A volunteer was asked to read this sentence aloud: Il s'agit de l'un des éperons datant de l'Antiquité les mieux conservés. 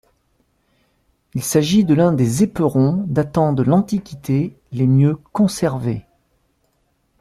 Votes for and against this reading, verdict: 2, 0, accepted